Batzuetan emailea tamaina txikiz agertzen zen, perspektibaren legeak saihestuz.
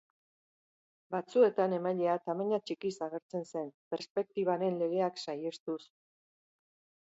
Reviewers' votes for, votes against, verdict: 2, 0, accepted